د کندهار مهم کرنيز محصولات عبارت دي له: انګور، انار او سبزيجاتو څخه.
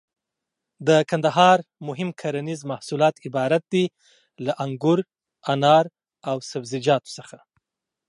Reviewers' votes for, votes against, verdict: 2, 0, accepted